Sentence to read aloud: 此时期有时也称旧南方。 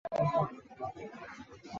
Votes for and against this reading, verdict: 0, 2, rejected